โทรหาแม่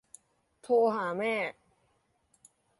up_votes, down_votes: 2, 0